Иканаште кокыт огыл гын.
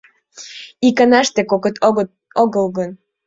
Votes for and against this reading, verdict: 0, 2, rejected